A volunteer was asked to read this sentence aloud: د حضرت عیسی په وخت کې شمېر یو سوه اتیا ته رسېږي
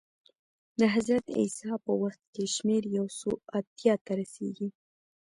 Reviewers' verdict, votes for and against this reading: accepted, 2, 1